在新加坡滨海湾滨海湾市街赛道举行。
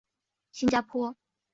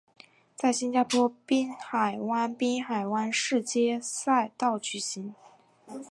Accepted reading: second